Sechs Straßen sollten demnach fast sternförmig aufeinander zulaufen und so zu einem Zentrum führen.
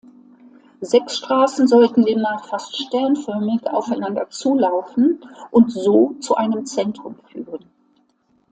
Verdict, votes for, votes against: accepted, 2, 0